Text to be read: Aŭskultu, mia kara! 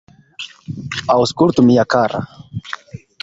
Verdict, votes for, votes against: accepted, 2, 0